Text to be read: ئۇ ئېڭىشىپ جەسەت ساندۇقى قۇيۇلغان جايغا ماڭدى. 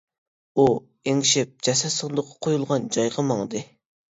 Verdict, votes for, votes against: rejected, 1, 2